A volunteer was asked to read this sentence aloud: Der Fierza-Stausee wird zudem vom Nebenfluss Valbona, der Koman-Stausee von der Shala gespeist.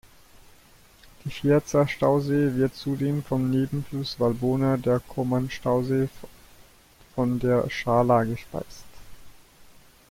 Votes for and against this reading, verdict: 2, 1, accepted